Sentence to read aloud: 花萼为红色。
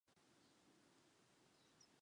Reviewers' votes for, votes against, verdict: 0, 3, rejected